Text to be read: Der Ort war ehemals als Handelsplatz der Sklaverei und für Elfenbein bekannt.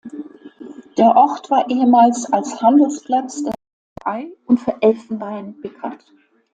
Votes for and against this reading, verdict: 0, 2, rejected